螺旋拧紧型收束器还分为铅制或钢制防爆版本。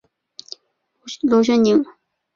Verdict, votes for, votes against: rejected, 2, 3